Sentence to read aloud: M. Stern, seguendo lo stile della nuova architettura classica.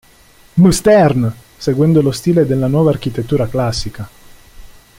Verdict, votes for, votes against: rejected, 1, 2